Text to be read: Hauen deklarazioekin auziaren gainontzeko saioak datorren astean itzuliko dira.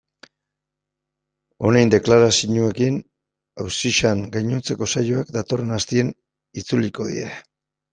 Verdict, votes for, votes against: rejected, 1, 2